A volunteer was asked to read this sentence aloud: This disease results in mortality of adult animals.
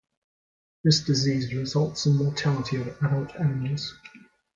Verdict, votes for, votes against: rejected, 0, 2